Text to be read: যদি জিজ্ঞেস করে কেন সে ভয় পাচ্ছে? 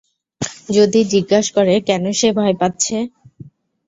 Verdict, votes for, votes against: accepted, 3, 0